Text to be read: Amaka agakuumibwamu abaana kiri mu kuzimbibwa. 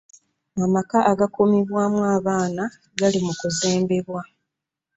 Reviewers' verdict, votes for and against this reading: rejected, 1, 2